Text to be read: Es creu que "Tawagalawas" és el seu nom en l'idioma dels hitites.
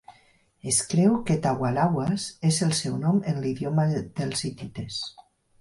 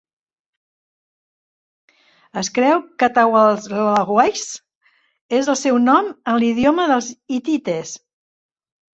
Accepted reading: first